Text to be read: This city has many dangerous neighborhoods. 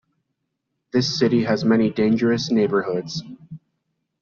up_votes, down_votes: 2, 0